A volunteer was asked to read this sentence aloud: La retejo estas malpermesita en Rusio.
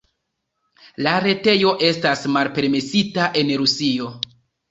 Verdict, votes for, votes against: accepted, 2, 0